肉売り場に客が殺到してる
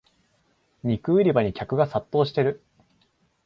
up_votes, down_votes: 2, 0